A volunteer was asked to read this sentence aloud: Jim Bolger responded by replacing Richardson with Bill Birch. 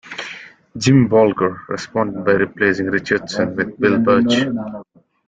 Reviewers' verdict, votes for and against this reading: rejected, 1, 2